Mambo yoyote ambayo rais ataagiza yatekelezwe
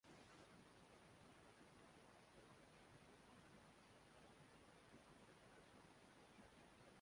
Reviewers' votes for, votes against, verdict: 0, 2, rejected